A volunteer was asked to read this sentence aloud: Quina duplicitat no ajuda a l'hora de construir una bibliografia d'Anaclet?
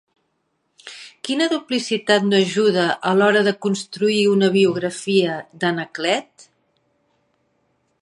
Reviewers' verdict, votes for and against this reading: accepted, 2, 0